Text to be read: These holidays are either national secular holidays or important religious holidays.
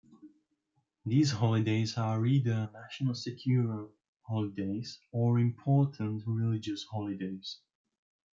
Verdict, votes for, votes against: rejected, 0, 2